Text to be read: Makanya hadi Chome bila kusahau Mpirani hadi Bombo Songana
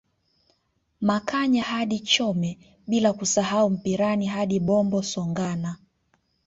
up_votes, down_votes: 1, 2